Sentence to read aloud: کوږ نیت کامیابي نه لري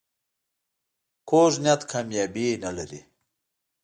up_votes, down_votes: 2, 0